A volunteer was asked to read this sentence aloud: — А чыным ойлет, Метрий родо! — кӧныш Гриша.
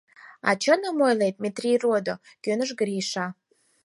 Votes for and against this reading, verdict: 4, 0, accepted